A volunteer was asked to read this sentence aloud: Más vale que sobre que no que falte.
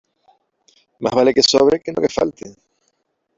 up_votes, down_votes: 2, 3